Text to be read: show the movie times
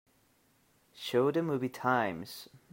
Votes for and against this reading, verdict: 3, 1, accepted